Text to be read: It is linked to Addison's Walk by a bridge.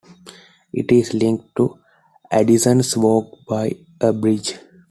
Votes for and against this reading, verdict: 2, 0, accepted